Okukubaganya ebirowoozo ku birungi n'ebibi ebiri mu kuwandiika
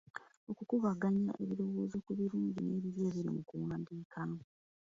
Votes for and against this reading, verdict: 2, 0, accepted